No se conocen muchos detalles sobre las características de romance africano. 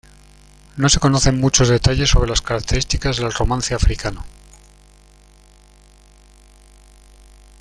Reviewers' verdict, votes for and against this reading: rejected, 1, 2